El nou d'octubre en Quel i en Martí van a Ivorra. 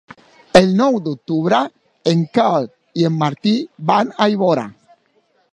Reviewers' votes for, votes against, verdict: 0, 2, rejected